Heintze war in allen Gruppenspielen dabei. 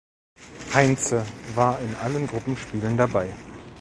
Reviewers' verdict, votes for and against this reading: accepted, 2, 0